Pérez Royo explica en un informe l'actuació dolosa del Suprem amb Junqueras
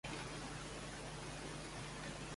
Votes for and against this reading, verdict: 0, 2, rejected